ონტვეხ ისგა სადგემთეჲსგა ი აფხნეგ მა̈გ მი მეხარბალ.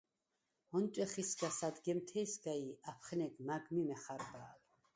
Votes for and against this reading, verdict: 4, 2, accepted